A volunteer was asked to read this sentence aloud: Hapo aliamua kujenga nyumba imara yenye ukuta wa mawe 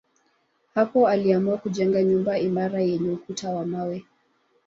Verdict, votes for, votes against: rejected, 0, 2